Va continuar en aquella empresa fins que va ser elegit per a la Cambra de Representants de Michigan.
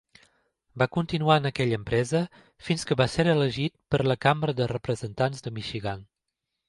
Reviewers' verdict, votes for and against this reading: accepted, 2, 0